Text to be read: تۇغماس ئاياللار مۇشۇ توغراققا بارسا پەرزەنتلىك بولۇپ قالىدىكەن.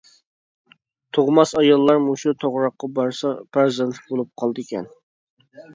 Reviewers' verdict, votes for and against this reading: accepted, 2, 1